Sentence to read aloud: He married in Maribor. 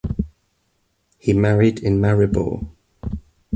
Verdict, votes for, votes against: accepted, 2, 0